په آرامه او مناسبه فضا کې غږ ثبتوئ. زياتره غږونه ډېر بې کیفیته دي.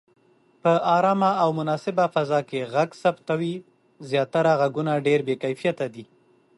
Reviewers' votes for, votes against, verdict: 2, 0, accepted